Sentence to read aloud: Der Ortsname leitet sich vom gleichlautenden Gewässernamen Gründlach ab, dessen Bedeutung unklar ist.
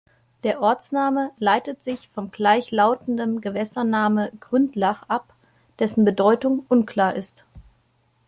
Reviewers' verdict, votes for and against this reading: rejected, 1, 2